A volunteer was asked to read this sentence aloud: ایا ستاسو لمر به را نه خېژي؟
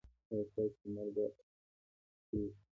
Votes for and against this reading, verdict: 2, 0, accepted